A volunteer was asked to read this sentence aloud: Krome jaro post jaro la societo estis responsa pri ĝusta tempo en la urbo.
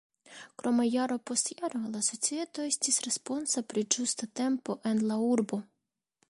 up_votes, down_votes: 1, 2